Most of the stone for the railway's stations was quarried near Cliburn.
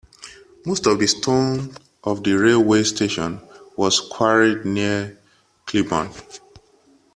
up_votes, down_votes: 0, 2